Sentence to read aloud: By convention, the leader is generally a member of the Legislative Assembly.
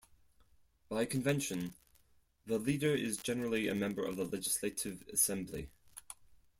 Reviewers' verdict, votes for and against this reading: accepted, 4, 0